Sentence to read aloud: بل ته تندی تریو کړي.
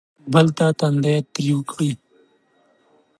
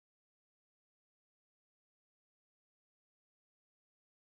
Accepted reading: first